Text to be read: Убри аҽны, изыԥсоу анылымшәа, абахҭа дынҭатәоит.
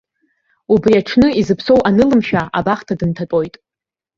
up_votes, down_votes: 1, 3